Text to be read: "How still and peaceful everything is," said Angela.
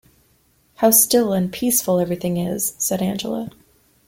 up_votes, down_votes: 2, 0